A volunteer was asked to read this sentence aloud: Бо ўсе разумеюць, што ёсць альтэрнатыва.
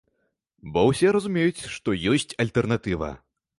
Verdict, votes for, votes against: accepted, 2, 0